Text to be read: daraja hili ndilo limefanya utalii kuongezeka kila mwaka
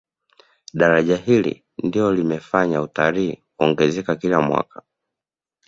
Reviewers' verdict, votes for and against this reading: accepted, 2, 0